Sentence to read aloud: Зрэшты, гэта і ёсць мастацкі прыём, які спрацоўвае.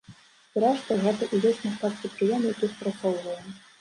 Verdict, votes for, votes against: rejected, 1, 2